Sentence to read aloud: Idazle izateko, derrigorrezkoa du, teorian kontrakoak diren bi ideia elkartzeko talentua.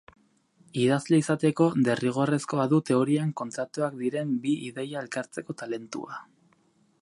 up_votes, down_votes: 2, 2